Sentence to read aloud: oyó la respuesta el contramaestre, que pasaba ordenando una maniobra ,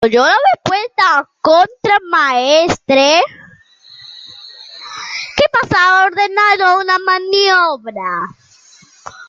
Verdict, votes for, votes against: rejected, 0, 2